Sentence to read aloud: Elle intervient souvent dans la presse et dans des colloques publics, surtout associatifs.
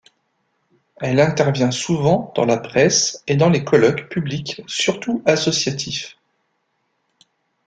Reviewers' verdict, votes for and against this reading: rejected, 1, 2